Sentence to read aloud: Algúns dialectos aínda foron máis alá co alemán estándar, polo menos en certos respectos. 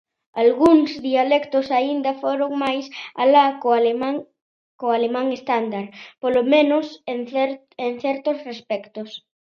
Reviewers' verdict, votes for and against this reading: rejected, 0, 2